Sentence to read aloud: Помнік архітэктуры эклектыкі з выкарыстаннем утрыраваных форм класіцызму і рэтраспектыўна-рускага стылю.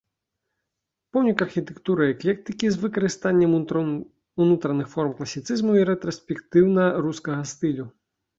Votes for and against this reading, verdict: 0, 3, rejected